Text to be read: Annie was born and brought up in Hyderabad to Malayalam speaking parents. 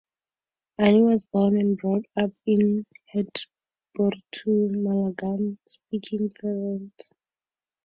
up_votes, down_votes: 2, 4